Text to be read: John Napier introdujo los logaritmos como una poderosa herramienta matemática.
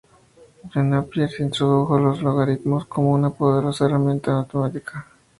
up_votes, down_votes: 2, 0